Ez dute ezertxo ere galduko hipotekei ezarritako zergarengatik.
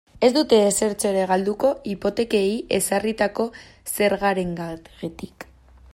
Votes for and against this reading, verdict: 0, 2, rejected